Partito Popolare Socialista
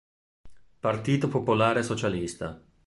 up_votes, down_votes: 2, 0